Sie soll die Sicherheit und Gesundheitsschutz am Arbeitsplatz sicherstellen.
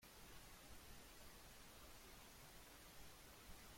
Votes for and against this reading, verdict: 0, 2, rejected